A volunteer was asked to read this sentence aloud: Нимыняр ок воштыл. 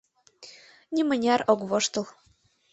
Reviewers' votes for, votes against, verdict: 3, 0, accepted